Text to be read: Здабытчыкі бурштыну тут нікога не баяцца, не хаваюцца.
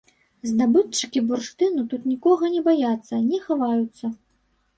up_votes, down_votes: 2, 0